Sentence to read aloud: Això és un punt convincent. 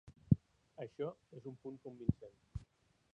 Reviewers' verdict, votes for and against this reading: rejected, 1, 2